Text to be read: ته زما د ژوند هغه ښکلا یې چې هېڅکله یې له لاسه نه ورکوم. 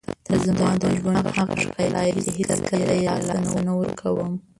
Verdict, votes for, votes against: rejected, 0, 2